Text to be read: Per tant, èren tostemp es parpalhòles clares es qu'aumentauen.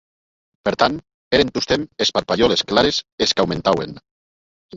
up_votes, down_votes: 1, 2